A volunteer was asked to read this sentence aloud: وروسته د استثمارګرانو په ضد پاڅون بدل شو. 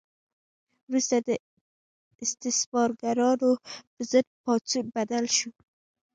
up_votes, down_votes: 2, 0